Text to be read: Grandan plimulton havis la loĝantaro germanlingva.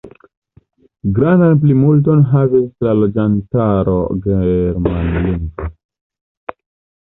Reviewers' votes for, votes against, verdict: 2, 1, accepted